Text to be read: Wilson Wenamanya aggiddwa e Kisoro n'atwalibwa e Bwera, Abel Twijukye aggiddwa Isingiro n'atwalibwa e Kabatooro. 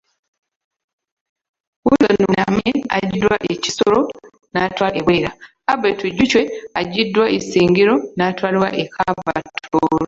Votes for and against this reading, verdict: 0, 2, rejected